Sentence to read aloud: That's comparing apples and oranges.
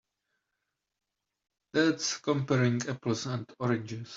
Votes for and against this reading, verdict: 2, 1, accepted